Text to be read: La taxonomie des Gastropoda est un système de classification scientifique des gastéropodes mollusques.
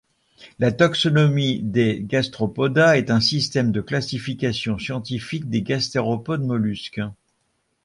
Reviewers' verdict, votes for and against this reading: rejected, 1, 2